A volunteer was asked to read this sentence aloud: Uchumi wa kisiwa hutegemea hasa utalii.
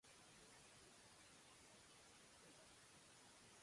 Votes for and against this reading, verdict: 0, 2, rejected